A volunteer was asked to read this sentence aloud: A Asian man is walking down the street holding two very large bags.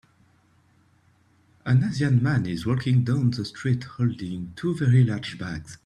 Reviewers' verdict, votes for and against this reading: rejected, 0, 2